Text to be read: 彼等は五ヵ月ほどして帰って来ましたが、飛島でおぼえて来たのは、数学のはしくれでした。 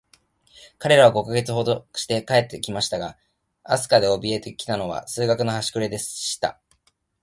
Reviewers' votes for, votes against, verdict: 0, 2, rejected